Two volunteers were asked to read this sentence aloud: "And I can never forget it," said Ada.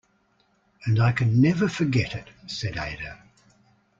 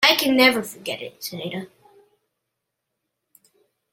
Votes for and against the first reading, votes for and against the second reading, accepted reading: 2, 1, 0, 2, first